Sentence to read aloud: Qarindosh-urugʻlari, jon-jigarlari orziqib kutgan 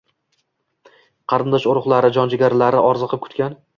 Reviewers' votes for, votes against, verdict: 2, 0, accepted